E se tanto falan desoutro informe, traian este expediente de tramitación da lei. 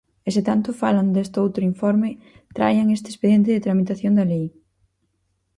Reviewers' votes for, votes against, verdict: 2, 2, rejected